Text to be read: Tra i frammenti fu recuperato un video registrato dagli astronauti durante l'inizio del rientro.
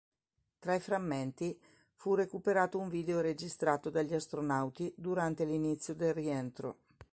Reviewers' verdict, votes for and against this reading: accepted, 3, 0